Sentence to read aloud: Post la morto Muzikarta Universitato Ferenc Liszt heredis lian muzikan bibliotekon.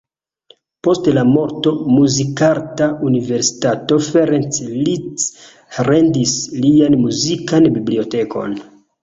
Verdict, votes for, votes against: rejected, 1, 2